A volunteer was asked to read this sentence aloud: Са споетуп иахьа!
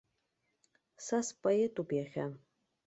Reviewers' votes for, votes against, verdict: 2, 0, accepted